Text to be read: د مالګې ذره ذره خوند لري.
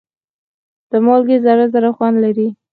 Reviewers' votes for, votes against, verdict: 4, 0, accepted